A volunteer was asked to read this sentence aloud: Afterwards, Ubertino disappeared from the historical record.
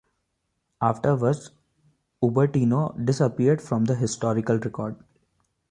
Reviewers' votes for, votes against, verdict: 2, 1, accepted